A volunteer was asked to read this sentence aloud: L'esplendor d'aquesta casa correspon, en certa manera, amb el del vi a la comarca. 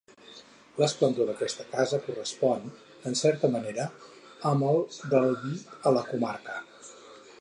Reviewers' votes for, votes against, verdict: 0, 4, rejected